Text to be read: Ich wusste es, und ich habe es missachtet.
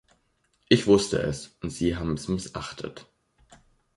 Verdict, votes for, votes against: rejected, 0, 2